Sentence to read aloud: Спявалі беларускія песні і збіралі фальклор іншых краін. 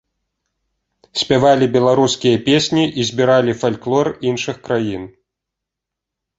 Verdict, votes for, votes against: accepted, 2, 0